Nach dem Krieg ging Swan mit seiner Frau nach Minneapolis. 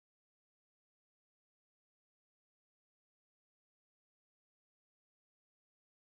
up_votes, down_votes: 0, 2